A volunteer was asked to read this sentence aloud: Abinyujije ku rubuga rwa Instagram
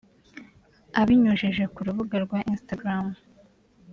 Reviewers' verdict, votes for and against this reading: accepted, 2, 0